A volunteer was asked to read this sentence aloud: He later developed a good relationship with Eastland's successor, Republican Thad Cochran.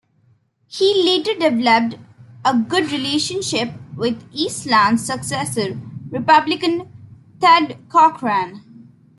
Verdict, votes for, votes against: accepted, 2, 1